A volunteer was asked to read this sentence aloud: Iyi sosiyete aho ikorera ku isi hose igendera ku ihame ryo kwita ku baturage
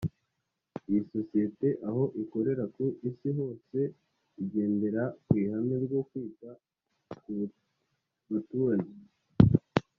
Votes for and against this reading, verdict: 2, 0, accepted